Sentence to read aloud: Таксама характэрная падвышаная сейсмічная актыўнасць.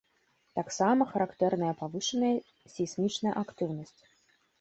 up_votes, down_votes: 1, 3